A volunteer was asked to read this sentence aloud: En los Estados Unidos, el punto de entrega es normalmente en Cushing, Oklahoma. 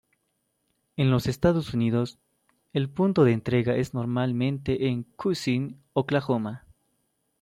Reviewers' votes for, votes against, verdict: 2, 0, accepted